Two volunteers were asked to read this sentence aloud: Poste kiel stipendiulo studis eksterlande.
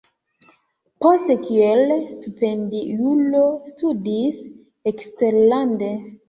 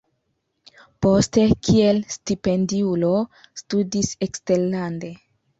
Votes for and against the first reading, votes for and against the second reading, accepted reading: 1, 2, 2, 0, second